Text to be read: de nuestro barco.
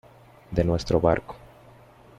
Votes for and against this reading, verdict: 2, 0, accepted